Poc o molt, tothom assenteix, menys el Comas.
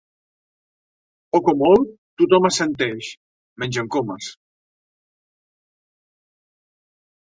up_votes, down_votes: 2, 0